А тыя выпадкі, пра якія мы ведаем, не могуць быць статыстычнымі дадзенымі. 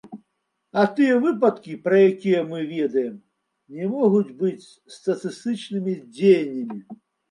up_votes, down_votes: 0, 2